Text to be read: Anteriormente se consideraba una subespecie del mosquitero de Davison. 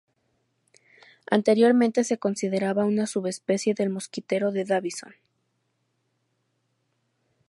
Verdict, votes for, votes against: accepted, 2, 0